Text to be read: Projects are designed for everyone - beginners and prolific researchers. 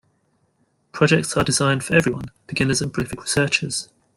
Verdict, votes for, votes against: rejected, 0, 2